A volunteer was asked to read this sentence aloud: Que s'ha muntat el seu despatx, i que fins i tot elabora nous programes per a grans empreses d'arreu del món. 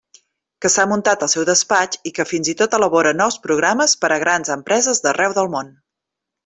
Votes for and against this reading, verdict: 3, 0, accepted